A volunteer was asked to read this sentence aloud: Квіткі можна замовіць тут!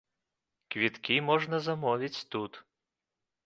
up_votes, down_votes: 2, 0